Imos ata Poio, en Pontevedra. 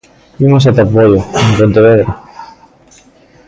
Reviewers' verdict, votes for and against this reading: rejected, 0, 2